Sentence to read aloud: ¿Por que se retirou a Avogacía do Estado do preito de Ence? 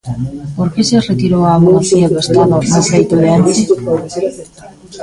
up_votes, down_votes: 0, 2